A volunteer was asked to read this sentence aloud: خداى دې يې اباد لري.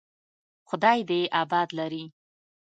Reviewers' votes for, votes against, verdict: 2, 0, accepted